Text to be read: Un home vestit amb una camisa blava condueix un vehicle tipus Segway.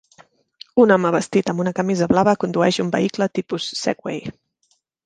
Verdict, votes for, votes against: accepted, 2, 0